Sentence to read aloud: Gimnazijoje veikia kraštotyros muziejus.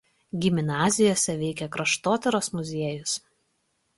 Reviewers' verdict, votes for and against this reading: rejected, 1, 2